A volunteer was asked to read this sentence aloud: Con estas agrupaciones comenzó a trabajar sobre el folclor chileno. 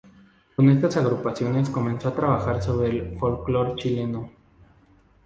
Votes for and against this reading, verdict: 0, 2, rejected